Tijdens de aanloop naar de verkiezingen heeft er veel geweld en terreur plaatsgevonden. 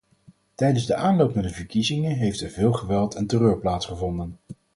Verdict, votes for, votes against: accepted, 4, 0